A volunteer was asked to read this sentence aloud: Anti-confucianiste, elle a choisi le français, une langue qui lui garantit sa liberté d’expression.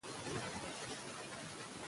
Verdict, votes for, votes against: rejected, 1, 2